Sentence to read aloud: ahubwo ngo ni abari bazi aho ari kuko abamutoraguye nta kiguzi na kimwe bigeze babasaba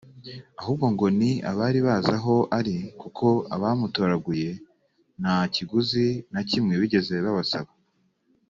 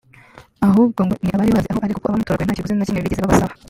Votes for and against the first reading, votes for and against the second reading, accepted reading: 3, 0, 0, 2, first